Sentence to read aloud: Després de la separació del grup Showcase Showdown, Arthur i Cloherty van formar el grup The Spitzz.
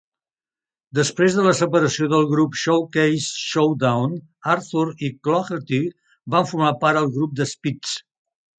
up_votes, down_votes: 1, 2